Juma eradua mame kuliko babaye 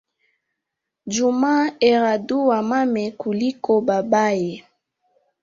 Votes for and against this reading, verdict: 2, 1, accepted